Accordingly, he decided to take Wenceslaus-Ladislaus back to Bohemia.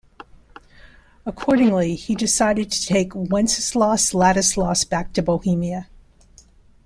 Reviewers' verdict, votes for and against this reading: accepted, 2, 0